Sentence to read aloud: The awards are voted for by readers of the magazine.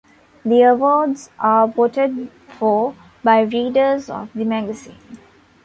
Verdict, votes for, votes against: rejected, 0, 2